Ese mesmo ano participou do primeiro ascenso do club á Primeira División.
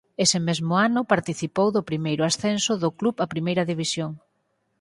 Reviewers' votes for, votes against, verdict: 4, 0, accepted